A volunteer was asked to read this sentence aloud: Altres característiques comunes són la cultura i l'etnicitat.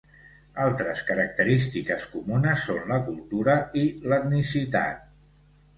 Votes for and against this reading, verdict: 2, 0, accepted